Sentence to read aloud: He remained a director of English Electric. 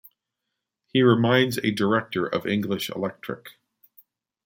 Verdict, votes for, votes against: rejected, 0, 2